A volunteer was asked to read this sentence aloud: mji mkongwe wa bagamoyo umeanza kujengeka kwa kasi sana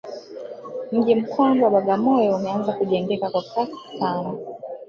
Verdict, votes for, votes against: rejected, 0, 2